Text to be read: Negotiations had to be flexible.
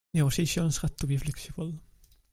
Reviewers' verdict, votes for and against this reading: accepted, 2, 1